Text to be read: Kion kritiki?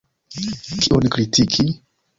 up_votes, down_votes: 0, 3